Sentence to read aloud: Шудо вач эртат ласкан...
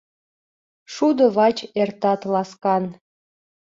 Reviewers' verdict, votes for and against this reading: accepted, 2, 0